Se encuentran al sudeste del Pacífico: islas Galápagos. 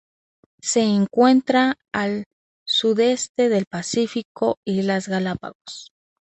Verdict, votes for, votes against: accepted, 2, 0